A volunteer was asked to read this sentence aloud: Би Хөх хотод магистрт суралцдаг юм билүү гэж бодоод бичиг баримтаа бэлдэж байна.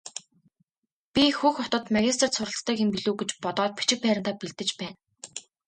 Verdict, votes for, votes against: accepted, 2, 0